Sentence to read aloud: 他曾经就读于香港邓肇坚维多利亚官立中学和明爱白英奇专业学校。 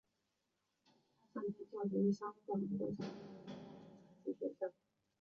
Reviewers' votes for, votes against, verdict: 0, 2, rejected